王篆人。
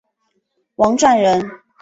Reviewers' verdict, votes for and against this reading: accepted, 2, 1